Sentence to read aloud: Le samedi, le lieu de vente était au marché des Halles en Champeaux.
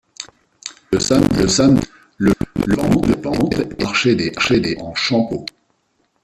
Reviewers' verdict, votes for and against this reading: rejected, 0, 2